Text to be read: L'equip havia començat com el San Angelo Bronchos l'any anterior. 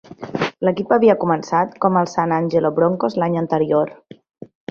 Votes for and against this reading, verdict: 2, 1, accepted